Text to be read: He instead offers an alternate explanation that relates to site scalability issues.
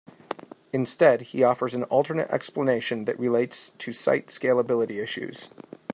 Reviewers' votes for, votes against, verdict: 1, 2, rejected